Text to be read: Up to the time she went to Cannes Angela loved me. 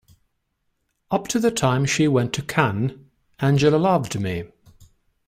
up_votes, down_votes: 2, 0